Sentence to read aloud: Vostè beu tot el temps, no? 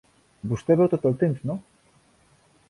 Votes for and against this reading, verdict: 2, 0, accepted